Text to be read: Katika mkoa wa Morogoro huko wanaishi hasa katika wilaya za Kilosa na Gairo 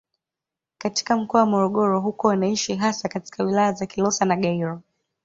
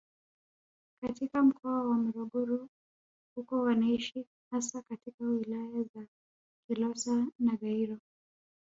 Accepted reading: first